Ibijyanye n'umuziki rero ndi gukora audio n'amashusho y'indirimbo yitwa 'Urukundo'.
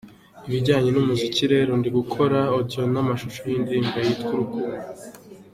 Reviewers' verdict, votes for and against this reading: accepted, 2, 0